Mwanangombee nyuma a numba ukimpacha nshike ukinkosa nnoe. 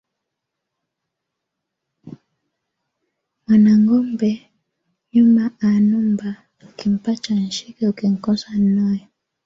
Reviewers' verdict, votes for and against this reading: accepted, 2, 0